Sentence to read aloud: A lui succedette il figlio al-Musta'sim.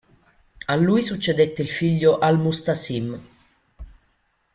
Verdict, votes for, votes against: accepted, 3, 0